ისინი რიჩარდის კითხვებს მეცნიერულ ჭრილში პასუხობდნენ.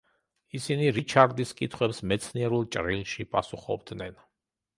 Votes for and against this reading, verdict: 2, 0, accepted